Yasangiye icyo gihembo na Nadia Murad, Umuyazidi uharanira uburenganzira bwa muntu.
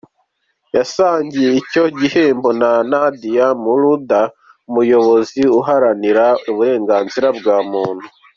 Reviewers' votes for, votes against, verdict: 1, 2, rejected